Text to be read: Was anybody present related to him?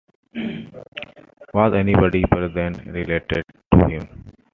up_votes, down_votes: 2, 1